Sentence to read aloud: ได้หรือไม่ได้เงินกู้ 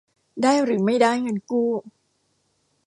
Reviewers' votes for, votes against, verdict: 2, 0, accepted